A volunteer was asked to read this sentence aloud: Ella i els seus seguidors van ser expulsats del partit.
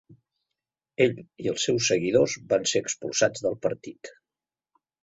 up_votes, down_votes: 0, 2